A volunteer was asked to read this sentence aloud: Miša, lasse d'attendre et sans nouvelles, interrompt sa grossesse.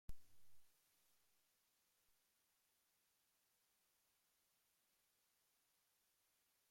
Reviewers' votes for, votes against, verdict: 1, 2, rejected